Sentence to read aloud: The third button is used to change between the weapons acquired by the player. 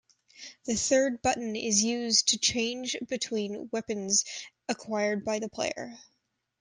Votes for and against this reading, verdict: 0, 2, rejected